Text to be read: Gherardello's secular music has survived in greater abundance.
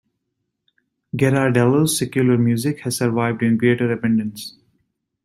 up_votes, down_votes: 0, 2